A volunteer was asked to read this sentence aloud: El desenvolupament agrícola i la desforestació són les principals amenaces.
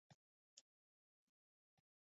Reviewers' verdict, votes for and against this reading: rejected, 0, 2